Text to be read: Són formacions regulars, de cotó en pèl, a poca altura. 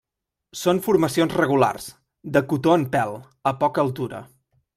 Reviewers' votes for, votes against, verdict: 3, 0, accepted